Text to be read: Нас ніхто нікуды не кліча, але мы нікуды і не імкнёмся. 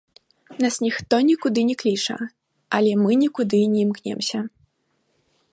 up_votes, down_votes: 0, 2